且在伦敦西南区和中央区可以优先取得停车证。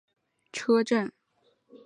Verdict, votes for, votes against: rejected, 0, 4